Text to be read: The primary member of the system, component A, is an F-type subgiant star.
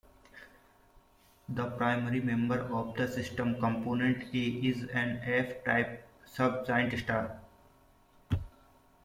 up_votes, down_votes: 2, 0